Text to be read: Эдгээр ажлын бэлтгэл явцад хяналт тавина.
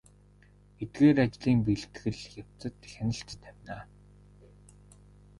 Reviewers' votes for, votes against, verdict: 1, 2, rejected